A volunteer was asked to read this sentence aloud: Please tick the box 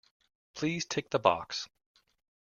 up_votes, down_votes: 2, 0